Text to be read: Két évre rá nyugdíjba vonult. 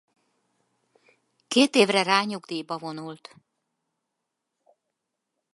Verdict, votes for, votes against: accepted, 4, 0